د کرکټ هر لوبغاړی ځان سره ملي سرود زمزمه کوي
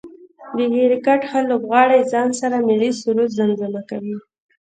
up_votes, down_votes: 1, 2